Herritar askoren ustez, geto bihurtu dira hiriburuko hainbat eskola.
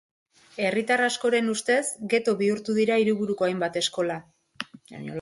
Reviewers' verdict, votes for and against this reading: accepted, 2, 0